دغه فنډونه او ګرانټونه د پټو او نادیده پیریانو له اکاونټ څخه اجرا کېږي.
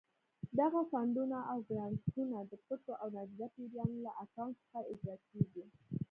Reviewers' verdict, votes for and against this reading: accepted, 2, 1